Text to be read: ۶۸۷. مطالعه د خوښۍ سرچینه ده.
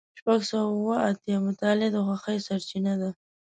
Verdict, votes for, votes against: rejected, 0, 2